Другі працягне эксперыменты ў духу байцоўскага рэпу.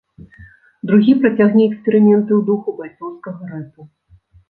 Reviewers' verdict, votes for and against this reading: rejected, 1, 2